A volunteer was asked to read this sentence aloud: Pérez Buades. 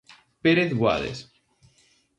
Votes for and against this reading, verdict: 2, 0, accepted